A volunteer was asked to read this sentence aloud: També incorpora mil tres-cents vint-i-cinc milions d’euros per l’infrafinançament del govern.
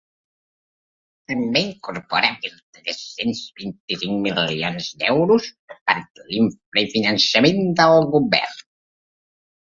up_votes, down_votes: 0, 2